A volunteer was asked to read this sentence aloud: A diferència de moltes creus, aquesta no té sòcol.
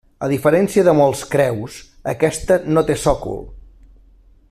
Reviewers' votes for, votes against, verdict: 0, 2, rejected